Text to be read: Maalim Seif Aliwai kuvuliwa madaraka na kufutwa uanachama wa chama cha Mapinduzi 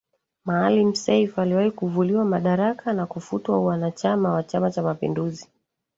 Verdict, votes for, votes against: rejected, 1, 2